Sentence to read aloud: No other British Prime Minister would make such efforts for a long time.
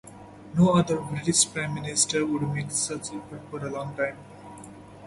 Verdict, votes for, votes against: rejected, 0, 2